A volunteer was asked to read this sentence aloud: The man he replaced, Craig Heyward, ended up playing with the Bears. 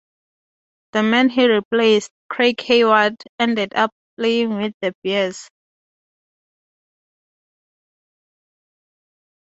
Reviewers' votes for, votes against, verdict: 2, 0, accepted